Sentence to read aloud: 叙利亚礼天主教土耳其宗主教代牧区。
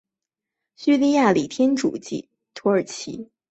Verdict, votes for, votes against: rejected, 3, 4